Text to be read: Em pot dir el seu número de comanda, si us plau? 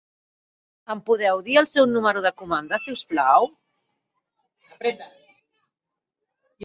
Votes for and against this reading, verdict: 2, 1, accepted